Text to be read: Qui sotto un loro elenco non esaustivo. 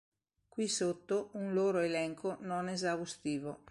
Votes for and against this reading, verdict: 3, 0, accepted